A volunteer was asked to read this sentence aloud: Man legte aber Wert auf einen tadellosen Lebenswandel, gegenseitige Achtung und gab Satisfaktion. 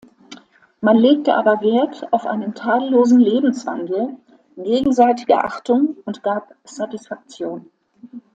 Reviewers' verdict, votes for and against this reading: accepted, 2, 0